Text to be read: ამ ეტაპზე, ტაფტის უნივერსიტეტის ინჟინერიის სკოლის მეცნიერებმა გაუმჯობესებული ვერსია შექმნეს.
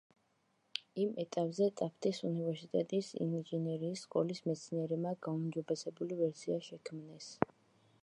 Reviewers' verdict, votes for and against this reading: rejected, 0, 2